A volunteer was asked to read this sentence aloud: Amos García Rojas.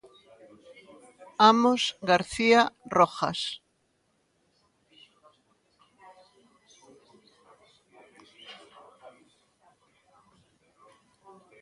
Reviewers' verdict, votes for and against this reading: rejected, 1, 2